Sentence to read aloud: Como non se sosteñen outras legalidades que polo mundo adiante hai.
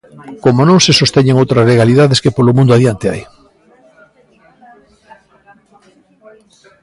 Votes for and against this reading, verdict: 1, 2, rejected